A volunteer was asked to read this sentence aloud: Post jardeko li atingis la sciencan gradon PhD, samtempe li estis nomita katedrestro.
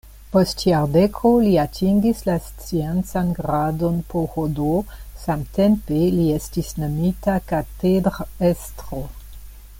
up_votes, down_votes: 0, 2